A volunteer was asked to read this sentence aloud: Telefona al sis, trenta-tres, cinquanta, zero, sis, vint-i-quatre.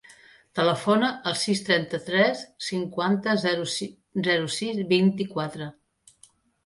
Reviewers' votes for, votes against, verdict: 0, 2, rejected